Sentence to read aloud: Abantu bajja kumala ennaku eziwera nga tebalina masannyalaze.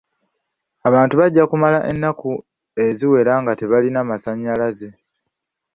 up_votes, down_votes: 2, 0